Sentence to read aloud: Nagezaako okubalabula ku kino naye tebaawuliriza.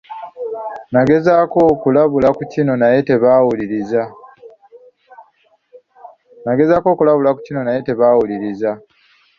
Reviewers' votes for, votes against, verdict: 0, 2, rejected